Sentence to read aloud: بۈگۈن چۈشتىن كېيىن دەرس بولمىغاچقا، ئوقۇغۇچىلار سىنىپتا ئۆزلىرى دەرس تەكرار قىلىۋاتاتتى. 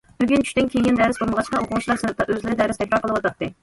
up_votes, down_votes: 2, 0